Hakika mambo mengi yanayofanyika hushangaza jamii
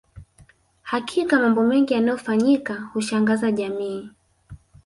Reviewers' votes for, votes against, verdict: 1, 2, rejected